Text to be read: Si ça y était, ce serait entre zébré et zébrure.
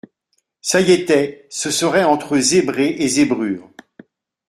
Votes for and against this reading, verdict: 1, 2, rejected